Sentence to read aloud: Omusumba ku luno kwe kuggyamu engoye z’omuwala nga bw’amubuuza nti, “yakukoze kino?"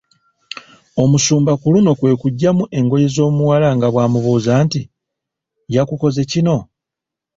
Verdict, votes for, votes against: accepted, 2, 0